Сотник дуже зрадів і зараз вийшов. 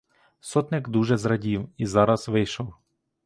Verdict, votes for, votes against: accepted, 2, 0